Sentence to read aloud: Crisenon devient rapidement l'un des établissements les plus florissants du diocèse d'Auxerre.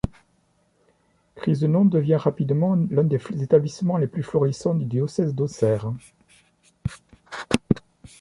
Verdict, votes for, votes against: accepted, 2, 0